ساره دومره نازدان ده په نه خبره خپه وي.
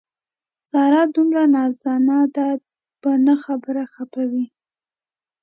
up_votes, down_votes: 2, 1